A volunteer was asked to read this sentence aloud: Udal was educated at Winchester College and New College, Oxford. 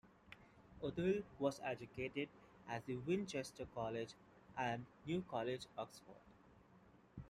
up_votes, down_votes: 0, 2